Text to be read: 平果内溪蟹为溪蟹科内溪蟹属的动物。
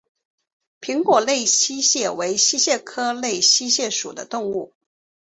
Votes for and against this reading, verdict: 5, 0, accepted